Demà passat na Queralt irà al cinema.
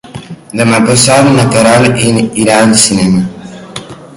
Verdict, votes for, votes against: rejected, 2, 4